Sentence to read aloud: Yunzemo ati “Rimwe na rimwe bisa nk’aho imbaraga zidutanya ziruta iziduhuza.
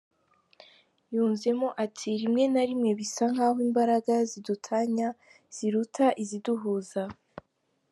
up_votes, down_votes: 2, 0